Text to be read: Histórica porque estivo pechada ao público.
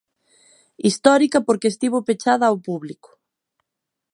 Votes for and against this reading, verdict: 2, 0, accepted